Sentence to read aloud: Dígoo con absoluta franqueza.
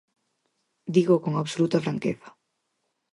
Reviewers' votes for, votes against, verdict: 4, 0, accepted